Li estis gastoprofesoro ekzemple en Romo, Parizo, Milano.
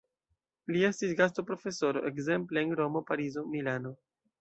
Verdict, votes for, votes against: accepted, 2, 0